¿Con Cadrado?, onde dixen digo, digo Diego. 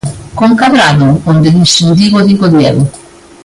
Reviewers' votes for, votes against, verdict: 2, 0, accepted